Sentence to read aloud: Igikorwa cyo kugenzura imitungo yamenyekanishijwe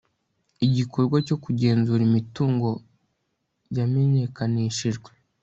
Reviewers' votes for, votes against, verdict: 2, 0, accepted